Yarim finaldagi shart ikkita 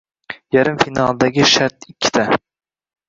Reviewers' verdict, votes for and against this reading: accepted, 2, 1